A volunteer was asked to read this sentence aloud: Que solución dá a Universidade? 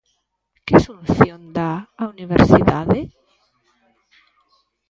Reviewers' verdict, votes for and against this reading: rejected, 1, 2